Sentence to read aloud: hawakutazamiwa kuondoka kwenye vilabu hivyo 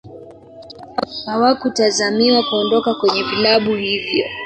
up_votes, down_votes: 2, 3